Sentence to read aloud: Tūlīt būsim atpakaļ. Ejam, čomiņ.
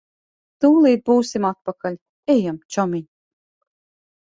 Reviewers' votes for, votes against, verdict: 2, 0, accepted